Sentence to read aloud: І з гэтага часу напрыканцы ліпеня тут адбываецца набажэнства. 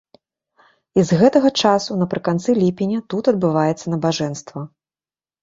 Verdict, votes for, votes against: accepted, 2, 0